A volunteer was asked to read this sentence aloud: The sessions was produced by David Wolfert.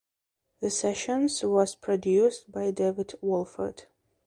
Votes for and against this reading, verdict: 2, 0, accepted